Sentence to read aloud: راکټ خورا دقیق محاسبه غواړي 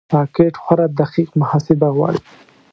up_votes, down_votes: 2, 0